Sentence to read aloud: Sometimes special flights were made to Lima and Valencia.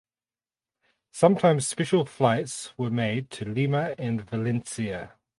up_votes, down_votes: 2, 2